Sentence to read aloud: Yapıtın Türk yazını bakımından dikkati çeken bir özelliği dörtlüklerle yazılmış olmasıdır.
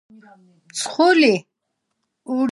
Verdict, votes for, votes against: rejected, 0, 2